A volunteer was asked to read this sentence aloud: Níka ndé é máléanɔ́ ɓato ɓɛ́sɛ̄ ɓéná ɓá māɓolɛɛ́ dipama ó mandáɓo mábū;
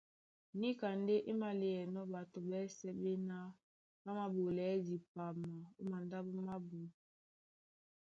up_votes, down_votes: 2, 0